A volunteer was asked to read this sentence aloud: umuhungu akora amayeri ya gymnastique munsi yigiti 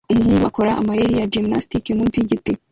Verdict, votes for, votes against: rejected, 1, 2